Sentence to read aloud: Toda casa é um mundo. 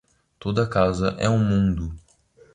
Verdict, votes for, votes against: accepted, 2, 0